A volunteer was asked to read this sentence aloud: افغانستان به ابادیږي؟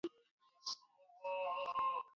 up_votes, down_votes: 0, 2